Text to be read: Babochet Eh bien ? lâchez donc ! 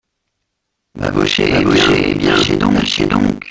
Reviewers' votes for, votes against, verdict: 0, 2, rejected